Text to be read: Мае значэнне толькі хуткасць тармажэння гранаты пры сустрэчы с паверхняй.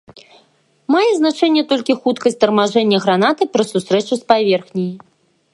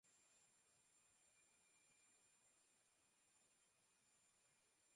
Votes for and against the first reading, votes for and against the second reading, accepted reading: 2, 0, 0, 2, first